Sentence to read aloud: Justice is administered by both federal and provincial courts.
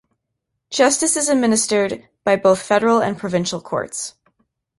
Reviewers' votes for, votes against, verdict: 2, 0, accepted